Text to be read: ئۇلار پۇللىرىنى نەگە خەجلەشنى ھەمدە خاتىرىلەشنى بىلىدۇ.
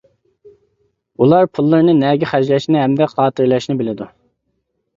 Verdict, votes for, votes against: accepted, 2, 0